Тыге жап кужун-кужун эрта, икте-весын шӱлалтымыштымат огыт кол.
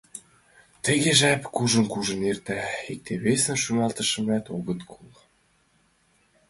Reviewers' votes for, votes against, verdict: 2, 1, accepted